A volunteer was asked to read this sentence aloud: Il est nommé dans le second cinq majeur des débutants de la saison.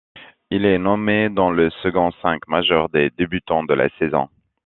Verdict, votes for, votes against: accepted, 2, 0